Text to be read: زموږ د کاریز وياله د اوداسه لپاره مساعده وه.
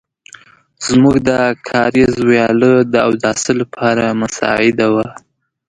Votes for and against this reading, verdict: 2, 0, accepted